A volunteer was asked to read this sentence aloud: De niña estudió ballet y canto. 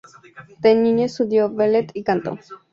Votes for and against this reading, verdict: 4, 0, accepted